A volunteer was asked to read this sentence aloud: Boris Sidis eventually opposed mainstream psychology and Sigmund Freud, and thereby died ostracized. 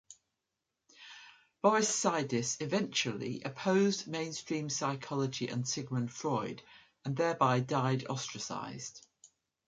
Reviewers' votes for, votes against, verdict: 2, 0, accepted